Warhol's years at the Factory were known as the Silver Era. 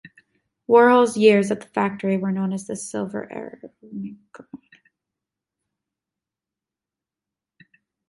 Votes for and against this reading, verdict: 0, 2, rejected